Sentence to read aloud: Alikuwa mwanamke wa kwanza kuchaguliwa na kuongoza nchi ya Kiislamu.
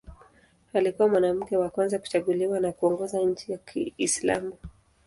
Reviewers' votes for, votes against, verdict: 2, 0, accepted